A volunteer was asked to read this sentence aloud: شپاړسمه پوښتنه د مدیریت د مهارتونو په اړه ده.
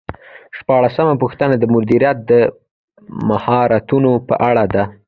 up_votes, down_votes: 0, 2